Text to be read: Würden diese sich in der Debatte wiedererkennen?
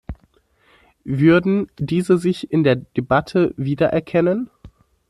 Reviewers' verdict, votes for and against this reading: accepted, 2, 0